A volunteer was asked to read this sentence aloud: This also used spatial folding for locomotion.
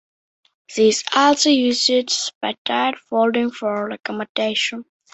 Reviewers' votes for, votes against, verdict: 1, 2, rejected